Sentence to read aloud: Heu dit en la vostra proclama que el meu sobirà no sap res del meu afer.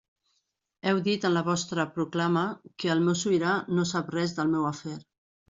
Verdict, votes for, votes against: rejected, 0, 2